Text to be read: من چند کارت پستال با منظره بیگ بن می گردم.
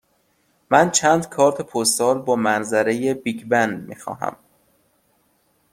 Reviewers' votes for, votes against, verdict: 1, 2, rejected